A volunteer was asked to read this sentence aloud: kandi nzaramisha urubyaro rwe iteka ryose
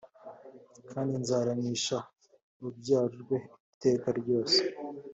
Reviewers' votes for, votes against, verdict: 2, 0, accepted